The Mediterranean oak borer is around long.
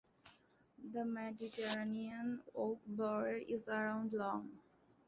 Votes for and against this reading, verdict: 2, 0, accepted